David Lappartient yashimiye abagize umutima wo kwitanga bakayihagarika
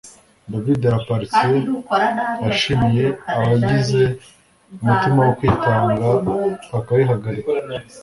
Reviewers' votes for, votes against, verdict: 2, 1, accepted